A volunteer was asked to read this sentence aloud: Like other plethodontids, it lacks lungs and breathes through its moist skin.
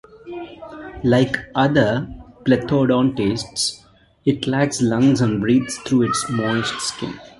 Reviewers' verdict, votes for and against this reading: accepted, 2, 1